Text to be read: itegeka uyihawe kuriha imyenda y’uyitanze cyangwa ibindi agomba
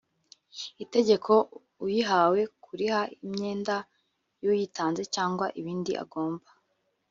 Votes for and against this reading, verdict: 1, 2, rejected